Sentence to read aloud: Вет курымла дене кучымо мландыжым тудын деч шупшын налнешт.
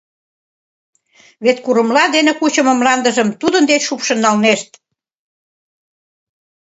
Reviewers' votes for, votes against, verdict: 2, 0, accepted